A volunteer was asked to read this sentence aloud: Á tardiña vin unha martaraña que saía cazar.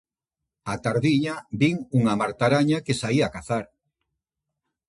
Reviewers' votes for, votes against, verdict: 2, 0, accepted